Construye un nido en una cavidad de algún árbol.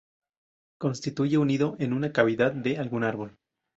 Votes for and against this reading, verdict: 0, 2, rejected